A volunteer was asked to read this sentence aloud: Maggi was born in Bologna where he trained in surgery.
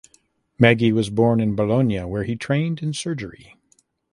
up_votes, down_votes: 2, 0